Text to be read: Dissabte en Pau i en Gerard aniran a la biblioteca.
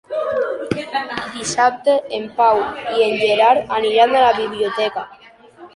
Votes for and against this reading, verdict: 0, 2, rejected